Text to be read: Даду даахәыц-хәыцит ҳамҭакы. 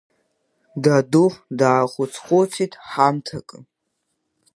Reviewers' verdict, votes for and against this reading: accepted, 2, 1